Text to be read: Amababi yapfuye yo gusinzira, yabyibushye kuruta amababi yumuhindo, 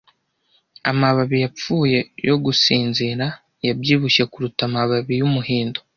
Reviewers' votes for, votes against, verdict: 2, 0, accepted